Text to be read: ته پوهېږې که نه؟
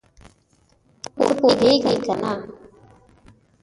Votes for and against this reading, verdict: 3, 4, rejected